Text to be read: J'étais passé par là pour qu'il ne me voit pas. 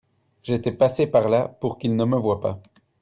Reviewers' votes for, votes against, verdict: 2, 0, accepted